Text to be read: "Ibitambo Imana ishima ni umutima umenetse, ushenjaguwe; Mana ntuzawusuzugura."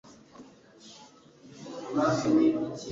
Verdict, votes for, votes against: rejected, 0, 2